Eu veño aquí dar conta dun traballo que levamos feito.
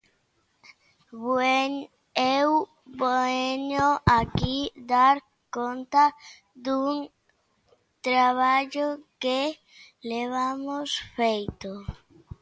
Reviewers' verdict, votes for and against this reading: rejected, 0, 2